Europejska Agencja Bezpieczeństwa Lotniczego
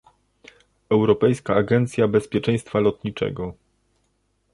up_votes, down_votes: 2, 0